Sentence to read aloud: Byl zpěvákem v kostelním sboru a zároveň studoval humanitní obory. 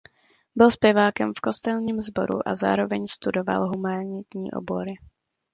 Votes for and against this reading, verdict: 2, 0, accepted